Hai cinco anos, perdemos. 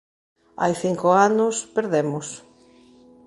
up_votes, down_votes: 2, 0